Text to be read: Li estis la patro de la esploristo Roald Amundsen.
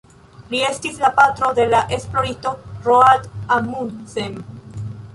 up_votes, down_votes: 1, 2